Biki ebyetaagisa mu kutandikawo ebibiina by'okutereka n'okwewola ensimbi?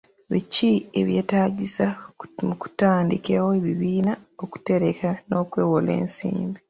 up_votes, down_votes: 2, 0